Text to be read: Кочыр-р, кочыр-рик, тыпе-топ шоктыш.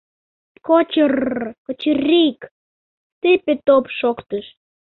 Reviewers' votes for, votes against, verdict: 2, 0, accepted